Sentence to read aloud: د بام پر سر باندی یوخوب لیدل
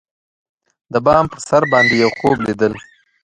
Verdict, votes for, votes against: rejected, 1, 2